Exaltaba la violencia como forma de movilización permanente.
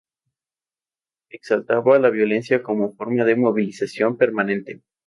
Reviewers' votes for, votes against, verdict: 0, 2, rejected